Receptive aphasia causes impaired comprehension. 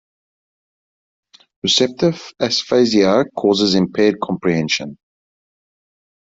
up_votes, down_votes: 0, 2